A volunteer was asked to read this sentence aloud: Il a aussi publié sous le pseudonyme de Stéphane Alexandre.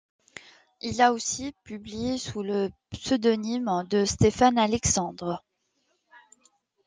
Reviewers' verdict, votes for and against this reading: accepted, 2, 1